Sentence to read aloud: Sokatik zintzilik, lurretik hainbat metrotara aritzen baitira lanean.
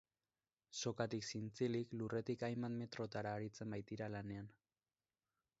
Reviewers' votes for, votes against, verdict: 2, 0, accepted